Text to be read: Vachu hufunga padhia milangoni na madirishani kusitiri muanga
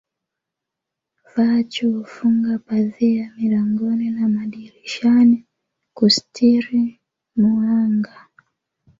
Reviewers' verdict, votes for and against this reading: rejected, 1, 2